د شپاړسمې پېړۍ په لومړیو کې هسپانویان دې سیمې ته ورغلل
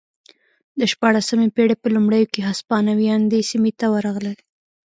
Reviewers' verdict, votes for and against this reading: rejected, 0, 2